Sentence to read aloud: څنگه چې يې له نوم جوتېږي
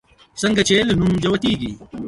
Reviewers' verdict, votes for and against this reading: rejected, 0, 2